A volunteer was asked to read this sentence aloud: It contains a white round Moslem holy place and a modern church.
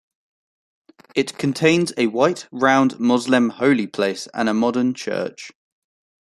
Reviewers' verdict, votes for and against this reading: accepted, 2, 0